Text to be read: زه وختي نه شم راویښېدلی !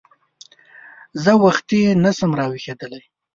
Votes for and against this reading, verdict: 2, 0, accepted